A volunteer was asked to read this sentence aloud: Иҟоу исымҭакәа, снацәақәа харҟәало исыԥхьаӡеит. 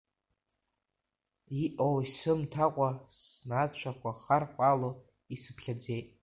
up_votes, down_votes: 1, 2